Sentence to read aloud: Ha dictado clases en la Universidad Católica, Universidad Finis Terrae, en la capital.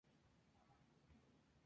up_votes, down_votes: 0, 2